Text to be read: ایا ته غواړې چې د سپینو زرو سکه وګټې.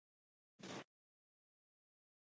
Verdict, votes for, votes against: rejected, 1, 2